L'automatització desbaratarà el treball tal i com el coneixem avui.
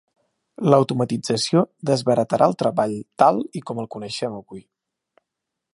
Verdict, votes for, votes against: rejected, 0, 2